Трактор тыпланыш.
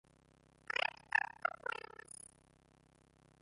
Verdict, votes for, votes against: rejected, 0, 2